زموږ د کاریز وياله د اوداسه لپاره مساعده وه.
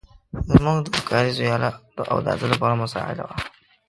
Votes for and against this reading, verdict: 1, 2, rejected